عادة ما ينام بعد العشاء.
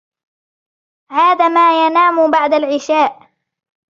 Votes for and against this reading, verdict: 0, 2, rejected